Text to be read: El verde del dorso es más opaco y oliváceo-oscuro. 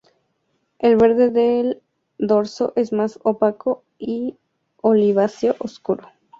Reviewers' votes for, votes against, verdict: 2, 0, accepted